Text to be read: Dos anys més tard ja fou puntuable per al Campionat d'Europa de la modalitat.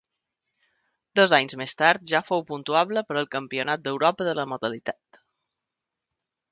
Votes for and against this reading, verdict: 2, 0, accepted